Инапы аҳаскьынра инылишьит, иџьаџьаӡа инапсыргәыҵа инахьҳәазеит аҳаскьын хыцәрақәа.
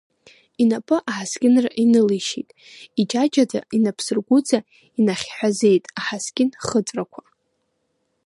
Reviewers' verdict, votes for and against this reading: accepted, 2, 1